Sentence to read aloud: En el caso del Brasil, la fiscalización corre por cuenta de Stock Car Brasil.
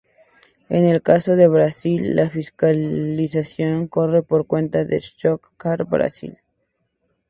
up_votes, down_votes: 0, 2